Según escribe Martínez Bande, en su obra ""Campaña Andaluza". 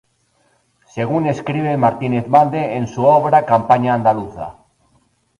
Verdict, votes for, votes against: rejected, 2, 2